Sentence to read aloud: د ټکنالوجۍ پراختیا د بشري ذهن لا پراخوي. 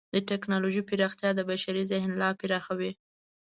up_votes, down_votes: 2, 0